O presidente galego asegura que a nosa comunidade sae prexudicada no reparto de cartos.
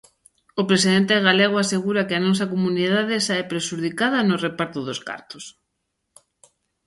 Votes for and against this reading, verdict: 0, 2, rejected